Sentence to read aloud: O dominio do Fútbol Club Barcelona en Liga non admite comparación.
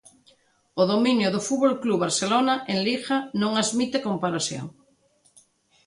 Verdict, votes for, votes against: accepted, 2, 0